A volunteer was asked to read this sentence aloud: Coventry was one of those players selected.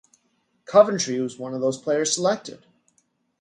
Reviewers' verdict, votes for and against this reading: accepted, 2, 0